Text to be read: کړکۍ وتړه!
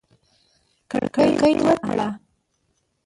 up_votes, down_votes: 1, 2